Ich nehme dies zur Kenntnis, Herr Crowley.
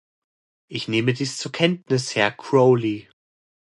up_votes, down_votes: 2, 0